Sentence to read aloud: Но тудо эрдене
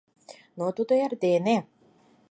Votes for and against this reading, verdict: 4, 0, accepted